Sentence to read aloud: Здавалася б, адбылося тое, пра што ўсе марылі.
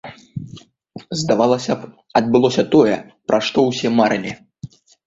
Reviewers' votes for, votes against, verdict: 2, 0, accepted